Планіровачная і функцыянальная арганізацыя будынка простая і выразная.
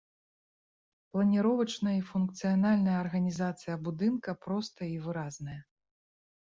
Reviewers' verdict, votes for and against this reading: rejected, 1, 2